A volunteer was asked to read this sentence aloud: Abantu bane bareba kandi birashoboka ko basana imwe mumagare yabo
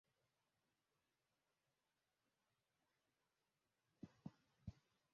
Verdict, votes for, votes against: rejected, 0, 2